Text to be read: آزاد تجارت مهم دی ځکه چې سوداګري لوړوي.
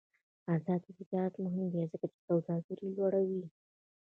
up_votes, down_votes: 1, 2